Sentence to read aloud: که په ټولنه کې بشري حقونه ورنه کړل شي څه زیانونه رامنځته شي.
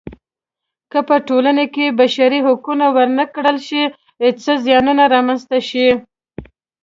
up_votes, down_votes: 2, 0